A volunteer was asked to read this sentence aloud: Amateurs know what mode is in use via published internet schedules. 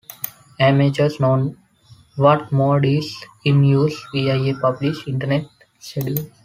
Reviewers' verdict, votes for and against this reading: accepted, 2, 1